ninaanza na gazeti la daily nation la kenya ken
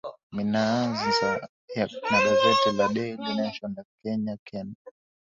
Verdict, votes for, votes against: rejected, 0, 2